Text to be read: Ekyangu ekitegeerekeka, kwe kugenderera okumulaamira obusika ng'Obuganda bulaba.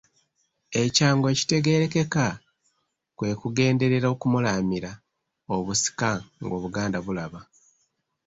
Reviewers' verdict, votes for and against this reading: accepted, 2, 0